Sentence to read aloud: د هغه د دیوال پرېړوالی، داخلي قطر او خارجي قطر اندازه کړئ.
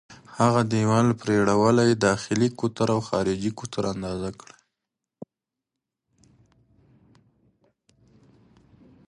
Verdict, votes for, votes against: accepted, 3, 2